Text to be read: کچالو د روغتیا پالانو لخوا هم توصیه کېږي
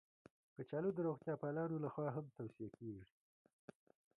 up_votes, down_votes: 1, 2